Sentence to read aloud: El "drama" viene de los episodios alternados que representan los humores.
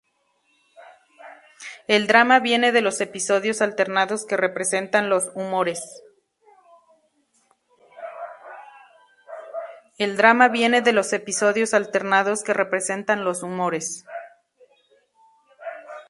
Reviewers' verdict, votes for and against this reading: rejected, 0, 2